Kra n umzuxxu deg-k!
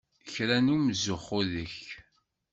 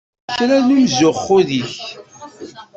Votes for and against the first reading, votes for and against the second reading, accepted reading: 2, 0, 0, 2, first